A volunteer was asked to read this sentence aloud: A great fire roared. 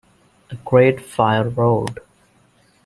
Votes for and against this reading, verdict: 1, 2, rejected